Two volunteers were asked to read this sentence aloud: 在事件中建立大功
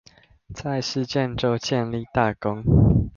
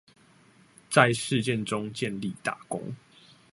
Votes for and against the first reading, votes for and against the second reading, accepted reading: 0, 2, 2, 0, second